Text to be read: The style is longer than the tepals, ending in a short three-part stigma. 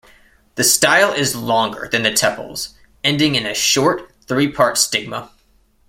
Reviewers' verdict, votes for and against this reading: accepted, 2, 0